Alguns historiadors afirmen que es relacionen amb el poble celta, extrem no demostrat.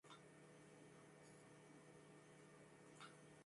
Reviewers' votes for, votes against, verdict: 0, 2, rejected